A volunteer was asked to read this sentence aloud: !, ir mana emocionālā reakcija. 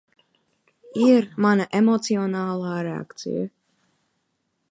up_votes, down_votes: 0, 2